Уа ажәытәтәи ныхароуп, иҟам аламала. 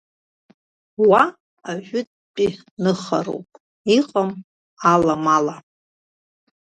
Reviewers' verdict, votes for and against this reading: accepted, 2, 0